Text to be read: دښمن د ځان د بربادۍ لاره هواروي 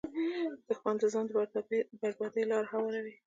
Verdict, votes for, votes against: rejected, 1, 2